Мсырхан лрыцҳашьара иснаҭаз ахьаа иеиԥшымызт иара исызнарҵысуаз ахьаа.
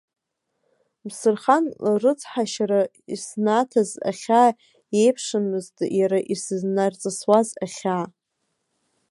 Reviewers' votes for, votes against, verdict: 1, 2, rejected